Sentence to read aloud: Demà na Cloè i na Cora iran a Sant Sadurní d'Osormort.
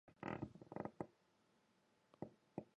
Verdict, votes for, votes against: rejected, 0, 3